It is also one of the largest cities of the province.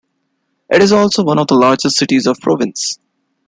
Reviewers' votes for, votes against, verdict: 1, 2, rejected